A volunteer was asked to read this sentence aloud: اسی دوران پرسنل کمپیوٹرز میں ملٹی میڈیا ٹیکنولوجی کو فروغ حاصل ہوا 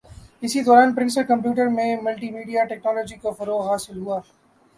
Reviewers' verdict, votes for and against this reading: accepted, 2, 0